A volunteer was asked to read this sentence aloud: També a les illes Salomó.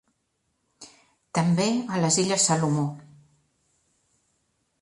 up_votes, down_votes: 3, 0